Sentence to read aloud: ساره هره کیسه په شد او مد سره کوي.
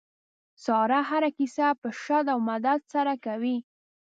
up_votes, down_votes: 1, 2